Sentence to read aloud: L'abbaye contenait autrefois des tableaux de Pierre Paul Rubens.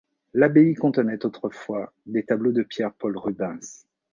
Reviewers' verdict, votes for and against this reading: accepted, 3, 0